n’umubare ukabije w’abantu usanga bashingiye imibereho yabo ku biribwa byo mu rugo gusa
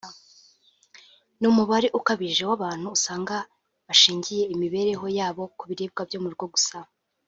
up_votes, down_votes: 2, 1